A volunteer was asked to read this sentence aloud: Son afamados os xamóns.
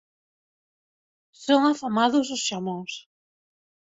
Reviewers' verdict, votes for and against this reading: accepted, 3, 0